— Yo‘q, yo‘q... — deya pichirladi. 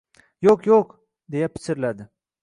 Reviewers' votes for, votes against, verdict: 2, 0, accepted